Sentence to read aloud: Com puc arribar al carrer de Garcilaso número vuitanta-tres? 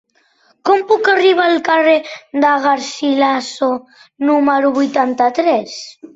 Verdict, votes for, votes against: accepted, 4, 0